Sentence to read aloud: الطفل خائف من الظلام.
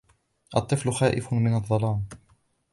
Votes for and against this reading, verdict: 2, 0, accepted